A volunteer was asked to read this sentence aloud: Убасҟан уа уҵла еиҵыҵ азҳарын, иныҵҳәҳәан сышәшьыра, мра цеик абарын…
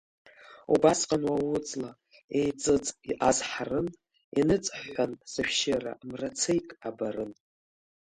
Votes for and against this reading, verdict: 1, 2, rejected